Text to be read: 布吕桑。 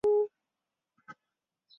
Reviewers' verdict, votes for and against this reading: rejected, 0, 3